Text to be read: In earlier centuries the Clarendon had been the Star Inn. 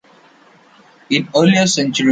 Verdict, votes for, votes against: rejected, 0, 2